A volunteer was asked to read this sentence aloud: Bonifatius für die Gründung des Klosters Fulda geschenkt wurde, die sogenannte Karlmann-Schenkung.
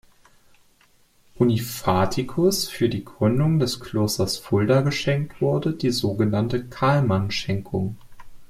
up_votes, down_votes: 0, 2